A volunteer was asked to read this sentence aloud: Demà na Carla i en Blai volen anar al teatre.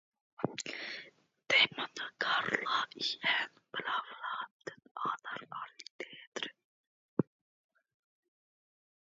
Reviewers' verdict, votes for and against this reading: rejected, 1, 2